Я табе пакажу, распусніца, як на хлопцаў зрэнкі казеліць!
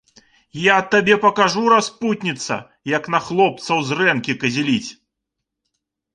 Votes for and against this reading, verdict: 1, 2, rejected